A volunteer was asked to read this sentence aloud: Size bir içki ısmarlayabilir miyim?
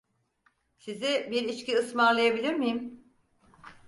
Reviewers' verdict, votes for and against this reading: accepted, 4, 0